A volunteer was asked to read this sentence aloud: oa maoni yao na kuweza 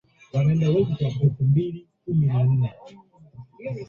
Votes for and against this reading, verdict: 0, 2, rejected